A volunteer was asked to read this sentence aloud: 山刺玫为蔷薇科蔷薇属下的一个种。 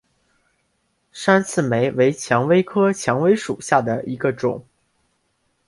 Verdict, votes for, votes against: accepted, 2, 0